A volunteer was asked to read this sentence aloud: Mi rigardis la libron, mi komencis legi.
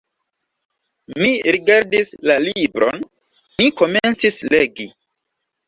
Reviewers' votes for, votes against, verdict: 1, 2, rejected